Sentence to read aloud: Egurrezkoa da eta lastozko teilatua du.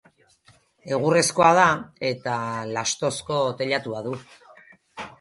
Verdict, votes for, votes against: rejected, 2, 2